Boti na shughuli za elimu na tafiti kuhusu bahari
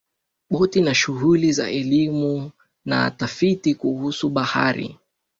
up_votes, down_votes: 2, 1